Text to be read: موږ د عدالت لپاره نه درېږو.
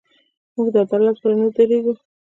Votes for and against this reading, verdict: 1, 2, rejected